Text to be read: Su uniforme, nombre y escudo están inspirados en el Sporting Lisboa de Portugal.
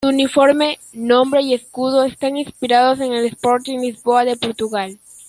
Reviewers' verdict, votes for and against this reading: accepted, 2, 0